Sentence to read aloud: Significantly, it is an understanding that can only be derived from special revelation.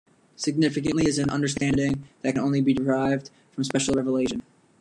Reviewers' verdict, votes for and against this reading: rejected, 0, 2